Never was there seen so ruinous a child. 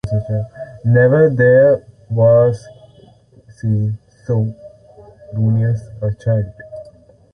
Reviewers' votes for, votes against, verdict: 0, 2, rejected